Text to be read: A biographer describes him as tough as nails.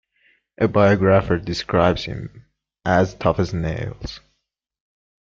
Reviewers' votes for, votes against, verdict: 2, 0, accepted